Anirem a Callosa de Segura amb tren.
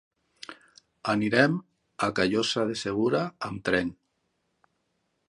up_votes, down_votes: 1, 2